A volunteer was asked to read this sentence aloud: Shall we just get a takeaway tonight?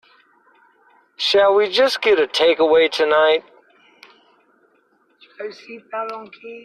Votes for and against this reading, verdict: 1, 2, rejected